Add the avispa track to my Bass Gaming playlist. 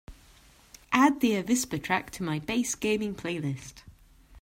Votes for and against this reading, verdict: 2, 0, accepted